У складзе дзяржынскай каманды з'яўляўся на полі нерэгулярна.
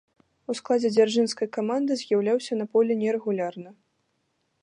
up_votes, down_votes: 2, 0